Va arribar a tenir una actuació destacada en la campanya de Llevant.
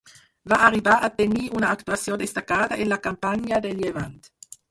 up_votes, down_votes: 2, 4